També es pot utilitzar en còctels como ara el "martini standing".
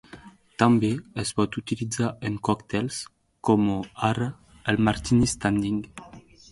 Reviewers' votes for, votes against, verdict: 0, 2, rejected